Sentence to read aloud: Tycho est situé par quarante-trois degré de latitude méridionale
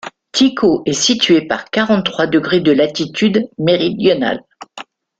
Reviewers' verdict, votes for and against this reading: accepted, 2, 0